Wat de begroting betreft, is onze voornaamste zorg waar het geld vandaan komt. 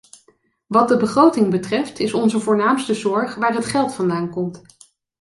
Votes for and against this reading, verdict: 2, 0, accepted